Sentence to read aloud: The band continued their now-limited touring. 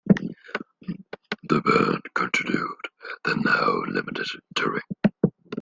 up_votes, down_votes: 1, 2